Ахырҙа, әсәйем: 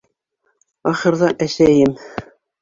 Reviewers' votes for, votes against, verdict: 3, 0, accepted